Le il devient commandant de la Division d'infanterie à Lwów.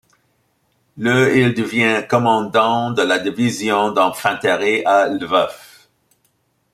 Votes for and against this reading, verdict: 1, 2, rejected